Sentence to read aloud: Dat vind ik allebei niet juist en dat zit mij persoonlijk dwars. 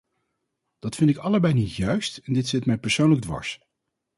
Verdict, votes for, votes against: rejected, 2, 2